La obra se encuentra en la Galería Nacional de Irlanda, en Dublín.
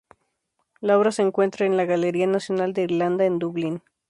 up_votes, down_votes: 0, 2